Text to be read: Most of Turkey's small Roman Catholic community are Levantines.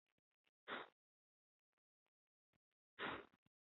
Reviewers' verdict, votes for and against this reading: rejected, 0, 3